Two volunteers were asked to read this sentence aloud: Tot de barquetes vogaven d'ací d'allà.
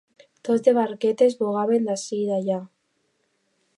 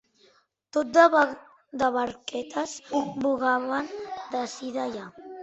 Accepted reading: first